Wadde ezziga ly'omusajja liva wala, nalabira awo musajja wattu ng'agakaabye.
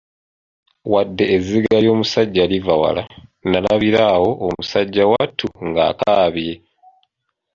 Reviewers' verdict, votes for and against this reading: accepted, 2, 0